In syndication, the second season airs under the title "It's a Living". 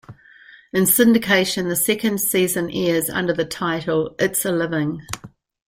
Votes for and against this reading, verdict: 2, 0, accepted